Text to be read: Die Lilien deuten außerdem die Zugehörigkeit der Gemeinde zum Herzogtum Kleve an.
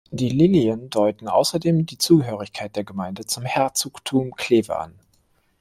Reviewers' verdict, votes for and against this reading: rejected, 0, 2